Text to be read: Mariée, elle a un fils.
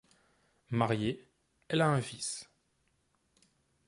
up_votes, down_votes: 2, 0